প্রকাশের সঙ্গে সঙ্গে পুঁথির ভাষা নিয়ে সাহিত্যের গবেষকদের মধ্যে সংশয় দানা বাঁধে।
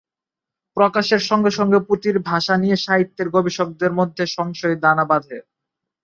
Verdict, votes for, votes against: rejected, 0, 3